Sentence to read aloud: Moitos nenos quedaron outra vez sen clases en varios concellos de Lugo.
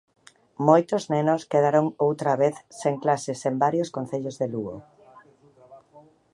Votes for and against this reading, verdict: 1, 2, rejected